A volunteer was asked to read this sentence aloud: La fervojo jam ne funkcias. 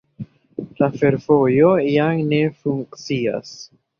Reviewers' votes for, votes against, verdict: 0, 2, rejected